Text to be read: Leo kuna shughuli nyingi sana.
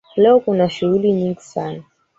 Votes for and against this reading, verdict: 3, 1, accepted